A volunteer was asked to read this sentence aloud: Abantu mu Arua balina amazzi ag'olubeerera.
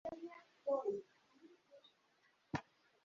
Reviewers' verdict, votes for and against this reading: rejected, 0, 2